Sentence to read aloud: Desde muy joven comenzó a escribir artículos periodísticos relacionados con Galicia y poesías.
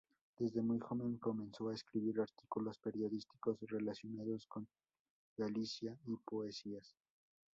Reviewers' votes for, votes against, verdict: 2, 2, rejected